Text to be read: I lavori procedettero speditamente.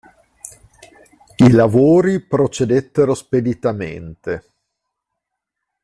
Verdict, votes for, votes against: accepted, 2, 0